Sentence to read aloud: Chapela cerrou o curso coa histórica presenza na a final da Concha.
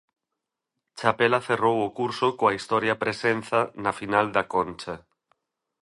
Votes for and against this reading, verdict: 0, 2, rejected